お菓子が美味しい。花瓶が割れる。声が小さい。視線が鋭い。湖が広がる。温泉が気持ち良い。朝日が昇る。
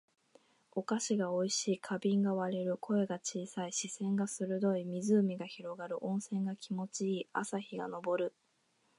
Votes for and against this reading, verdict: 2, 0, accepted